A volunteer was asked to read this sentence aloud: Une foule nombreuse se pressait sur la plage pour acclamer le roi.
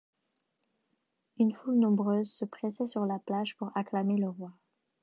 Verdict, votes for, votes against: accepted, 2, 0